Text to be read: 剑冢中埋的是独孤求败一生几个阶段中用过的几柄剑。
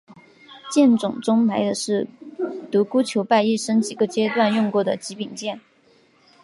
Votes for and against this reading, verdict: 3, 0, accepted